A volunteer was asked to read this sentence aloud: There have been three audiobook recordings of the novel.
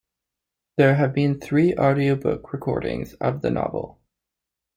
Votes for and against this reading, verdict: 2, 1, accepted